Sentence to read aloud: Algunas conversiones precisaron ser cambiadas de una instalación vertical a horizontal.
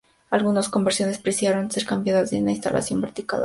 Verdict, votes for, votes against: rejected, 0, 2